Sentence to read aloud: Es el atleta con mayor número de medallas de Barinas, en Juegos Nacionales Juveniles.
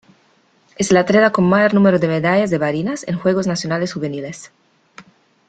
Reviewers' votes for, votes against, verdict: 0, 2, rejected